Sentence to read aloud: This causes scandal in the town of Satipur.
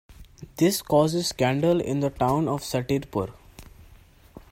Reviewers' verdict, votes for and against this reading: accepted, 2, 0